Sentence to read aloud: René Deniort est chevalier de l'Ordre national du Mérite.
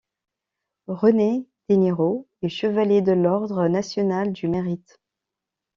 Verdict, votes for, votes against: rejected, 0, 2